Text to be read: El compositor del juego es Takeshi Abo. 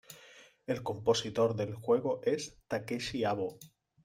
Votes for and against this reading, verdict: 2, 0, accepted